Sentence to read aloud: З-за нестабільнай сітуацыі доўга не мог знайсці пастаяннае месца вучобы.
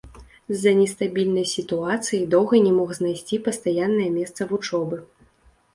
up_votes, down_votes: 2, 0